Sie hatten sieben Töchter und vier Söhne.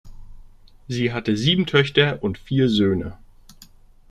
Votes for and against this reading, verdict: 1, 2, rejected